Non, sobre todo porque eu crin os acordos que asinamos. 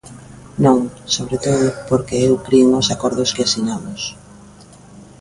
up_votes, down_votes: 2, 0